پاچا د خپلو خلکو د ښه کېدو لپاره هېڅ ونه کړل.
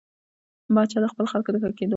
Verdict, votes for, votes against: rejected, 1, 2